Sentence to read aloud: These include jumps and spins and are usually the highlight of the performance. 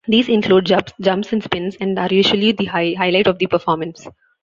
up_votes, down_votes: 0, 2